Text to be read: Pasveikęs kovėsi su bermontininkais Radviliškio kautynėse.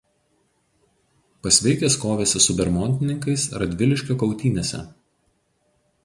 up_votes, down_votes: 0, 2